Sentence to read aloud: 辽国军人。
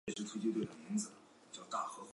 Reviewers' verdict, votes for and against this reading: rejected, 0, 4